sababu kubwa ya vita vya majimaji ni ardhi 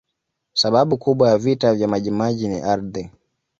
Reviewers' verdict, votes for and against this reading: accepted, 2, 0